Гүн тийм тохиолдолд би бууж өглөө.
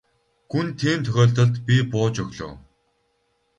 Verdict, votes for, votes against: rejected, 2, 2